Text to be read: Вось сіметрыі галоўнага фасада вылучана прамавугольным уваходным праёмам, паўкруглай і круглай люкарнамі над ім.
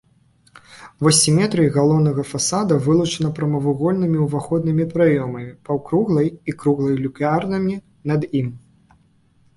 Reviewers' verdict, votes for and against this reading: rejected, 1, 2